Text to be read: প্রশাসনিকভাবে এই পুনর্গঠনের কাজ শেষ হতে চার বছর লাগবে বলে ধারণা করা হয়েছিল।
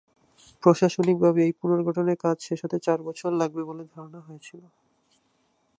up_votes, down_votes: 4, 2